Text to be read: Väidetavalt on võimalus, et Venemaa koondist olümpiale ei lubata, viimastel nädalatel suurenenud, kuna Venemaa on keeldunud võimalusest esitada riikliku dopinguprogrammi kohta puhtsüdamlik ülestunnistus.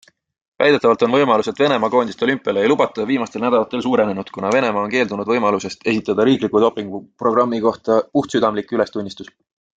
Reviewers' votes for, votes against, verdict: 2, 0, accepted